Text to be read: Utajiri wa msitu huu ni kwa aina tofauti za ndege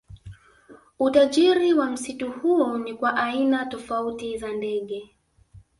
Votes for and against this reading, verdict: 0, 2, rejected